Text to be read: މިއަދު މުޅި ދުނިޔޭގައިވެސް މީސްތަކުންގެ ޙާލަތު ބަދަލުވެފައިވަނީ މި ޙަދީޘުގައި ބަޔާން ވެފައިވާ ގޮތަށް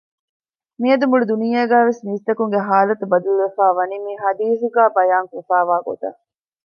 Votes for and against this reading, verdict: 2, 0, accepted